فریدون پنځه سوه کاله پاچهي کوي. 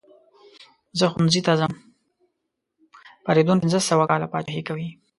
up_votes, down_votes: 1, 2